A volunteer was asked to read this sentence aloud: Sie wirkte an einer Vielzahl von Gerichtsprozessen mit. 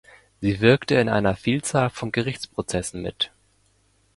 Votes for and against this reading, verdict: 0, 2, rejected